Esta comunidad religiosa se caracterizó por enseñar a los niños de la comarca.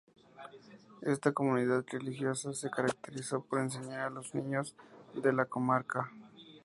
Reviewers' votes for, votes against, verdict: 2, 0, accepted